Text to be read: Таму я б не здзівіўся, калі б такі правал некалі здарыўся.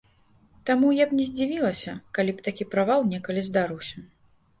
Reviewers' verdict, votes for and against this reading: rejected, 1, 2